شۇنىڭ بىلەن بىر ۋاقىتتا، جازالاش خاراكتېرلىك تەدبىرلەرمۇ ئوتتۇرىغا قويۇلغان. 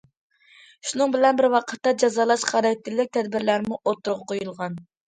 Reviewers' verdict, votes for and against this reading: accepted, 2, 0